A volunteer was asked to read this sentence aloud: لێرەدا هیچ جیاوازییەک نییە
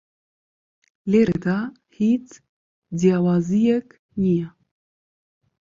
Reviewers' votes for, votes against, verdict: 2, 0, accepted